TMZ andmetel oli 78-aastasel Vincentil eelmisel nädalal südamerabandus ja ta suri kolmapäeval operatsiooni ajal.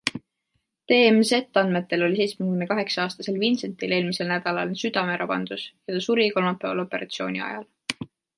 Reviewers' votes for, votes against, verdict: 0, 2, rejected